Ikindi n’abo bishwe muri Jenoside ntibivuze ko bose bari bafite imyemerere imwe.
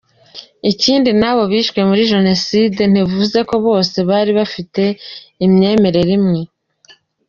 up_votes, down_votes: 2, 1